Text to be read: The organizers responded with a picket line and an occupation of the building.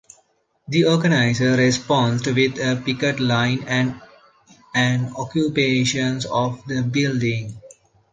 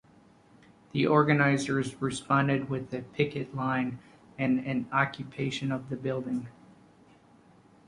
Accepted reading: second